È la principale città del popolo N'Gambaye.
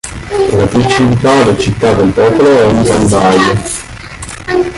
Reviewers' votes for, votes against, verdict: 2, 3, rejected